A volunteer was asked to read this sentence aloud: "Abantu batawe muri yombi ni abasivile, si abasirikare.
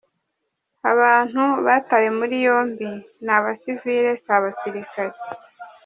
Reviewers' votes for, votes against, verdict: 3, 1, accepted